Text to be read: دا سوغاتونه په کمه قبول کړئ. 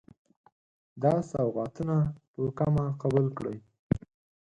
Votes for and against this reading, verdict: 2, 4, rejected